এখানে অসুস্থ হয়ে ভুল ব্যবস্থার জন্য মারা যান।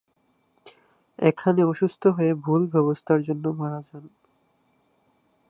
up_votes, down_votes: 2, 2